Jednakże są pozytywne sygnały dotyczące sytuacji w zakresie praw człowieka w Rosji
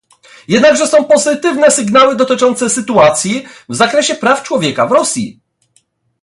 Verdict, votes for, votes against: accepted, 2, 0